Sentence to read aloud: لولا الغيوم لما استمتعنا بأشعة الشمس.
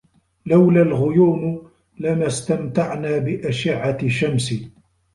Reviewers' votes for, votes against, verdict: 1, 2, rejected